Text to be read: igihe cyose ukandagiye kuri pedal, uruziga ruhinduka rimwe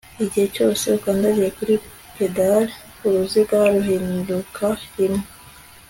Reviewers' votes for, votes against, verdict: 2, 0, accepted